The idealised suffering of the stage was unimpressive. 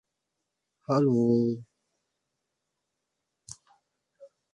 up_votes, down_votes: 0, 2